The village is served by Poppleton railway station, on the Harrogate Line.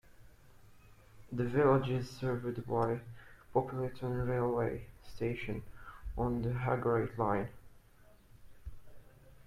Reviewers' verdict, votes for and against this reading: rejected, 1, 2